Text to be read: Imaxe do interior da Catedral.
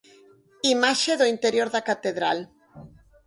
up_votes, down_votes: 4, 0